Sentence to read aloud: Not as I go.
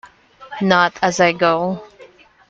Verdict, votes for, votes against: accepted, 2, 1